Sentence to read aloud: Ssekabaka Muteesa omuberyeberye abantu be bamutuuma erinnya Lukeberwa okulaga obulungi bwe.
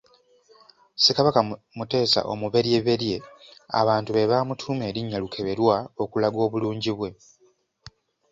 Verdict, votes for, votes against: accepted, 2, 0